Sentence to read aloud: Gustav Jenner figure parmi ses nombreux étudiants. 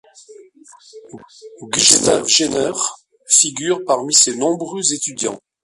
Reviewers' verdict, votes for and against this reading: rejected, 0, 2